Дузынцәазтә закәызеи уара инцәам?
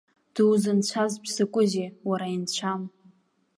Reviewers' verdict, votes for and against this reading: accepted, 2, 0